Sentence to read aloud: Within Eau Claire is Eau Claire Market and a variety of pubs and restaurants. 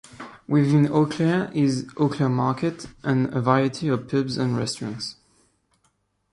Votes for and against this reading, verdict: 0, 2, rejected